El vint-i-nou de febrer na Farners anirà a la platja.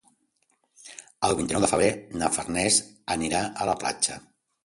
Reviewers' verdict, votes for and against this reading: accepted, 2, 0